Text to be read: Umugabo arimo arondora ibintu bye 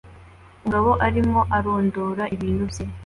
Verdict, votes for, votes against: accepted, 2, 0